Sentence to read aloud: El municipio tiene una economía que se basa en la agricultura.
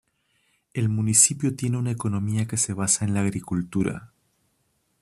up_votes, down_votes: 2, 0